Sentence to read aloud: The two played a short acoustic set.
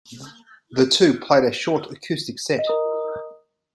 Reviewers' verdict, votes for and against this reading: accepted, 2, 0